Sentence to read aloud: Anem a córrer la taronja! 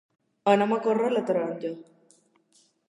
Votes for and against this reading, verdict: 2, 0, accepted